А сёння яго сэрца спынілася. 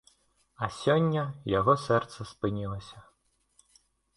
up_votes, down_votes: 2, 0